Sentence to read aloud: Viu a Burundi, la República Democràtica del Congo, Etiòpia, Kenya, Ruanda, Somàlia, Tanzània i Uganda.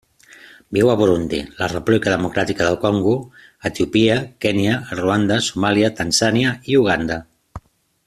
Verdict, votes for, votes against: rejected, 1, 2